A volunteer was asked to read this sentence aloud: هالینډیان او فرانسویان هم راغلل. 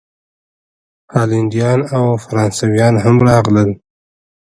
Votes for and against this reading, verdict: 2, 1, accepted